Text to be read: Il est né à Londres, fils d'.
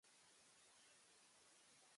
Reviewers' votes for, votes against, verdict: 1, 2, rejected